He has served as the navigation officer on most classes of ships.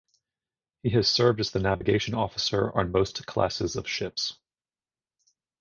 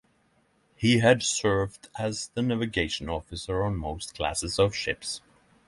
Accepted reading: first